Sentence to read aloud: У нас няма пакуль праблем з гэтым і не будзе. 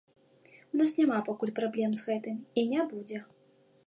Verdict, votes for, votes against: accepted, 2, 0